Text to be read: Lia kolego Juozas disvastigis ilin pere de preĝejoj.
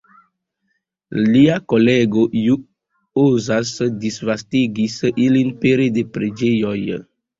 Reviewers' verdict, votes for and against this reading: rejected, 1, 2